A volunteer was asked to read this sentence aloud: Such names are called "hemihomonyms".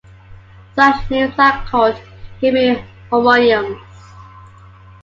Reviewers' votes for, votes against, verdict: 2, 1, accepted